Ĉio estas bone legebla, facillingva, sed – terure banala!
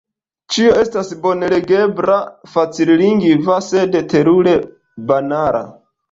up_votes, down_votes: 2, 0